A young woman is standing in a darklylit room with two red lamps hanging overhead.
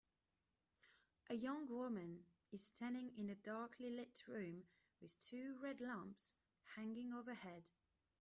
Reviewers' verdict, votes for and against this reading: accepted, 2, 0